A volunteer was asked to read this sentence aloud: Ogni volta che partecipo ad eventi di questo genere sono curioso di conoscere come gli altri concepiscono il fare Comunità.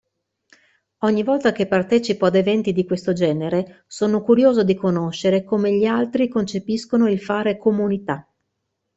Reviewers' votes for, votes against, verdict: 2, 0, accepted